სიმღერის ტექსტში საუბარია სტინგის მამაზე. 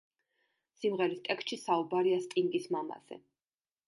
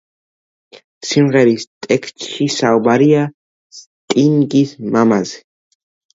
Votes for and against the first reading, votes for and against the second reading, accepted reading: 2, 0, 1, 2, first